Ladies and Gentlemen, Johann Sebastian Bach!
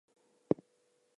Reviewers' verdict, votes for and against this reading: rejected, 0, 2